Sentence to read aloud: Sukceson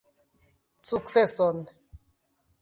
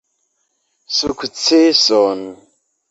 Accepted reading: second